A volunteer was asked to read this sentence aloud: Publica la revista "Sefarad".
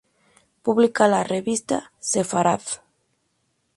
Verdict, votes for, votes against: accepted, 2, 0